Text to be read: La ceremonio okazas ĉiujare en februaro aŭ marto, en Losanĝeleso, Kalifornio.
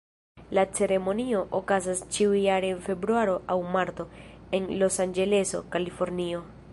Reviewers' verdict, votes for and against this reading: rejected, 1, 2